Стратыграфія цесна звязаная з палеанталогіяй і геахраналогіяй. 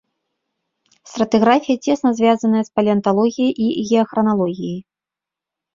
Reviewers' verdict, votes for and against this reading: accepted, 2, 0